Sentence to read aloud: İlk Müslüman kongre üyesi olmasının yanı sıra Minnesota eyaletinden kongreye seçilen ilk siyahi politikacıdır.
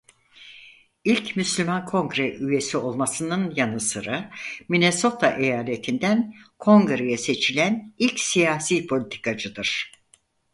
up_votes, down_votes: 0, 4